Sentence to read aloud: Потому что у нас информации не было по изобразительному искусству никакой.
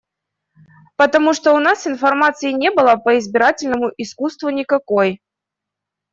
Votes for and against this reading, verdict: 0, 2, rejected